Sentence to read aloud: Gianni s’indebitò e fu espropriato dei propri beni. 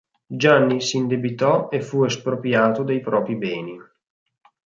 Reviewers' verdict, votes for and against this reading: accepted, 4, 0